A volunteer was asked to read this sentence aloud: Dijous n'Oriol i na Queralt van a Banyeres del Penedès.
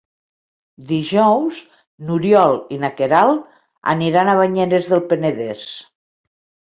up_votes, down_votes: 0, 2